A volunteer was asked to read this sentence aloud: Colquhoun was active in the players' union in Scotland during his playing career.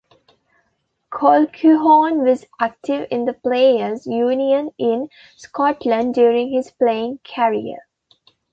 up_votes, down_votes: 1, 3